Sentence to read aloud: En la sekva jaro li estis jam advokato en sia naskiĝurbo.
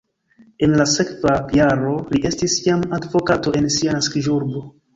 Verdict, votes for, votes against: rejected, 1, 2